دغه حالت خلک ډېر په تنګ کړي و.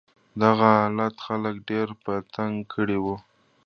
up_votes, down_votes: 1, 2